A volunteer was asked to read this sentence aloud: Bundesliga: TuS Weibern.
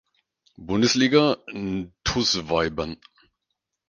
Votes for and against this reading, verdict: 0, 4, rejected